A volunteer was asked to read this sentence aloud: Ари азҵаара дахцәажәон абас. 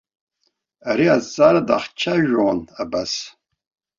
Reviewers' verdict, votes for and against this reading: rejected, 1, 2